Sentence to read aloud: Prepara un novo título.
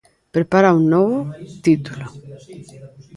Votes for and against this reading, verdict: 1, 2, rejected